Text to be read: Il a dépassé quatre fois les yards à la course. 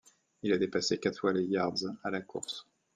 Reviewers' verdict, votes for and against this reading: accepted, 2, 0